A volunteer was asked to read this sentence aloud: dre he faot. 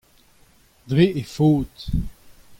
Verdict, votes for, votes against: accepted, 2, 0